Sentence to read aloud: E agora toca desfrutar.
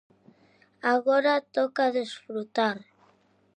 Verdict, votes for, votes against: rejected, 0, 2